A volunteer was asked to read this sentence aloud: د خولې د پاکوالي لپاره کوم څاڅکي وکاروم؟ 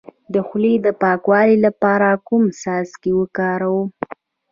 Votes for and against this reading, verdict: 3, 0, accepted